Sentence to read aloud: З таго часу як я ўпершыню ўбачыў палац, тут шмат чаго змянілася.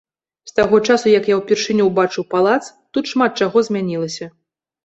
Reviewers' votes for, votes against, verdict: 2, 0, accepted